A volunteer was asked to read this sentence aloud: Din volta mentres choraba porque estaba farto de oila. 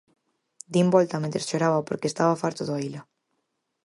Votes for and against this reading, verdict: 4, 0, accepted